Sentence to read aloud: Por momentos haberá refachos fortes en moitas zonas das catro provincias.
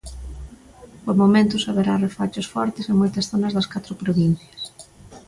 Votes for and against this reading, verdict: 2, 0, accepted